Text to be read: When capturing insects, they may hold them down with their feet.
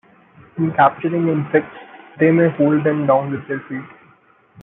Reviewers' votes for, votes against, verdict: 0, 2, rejected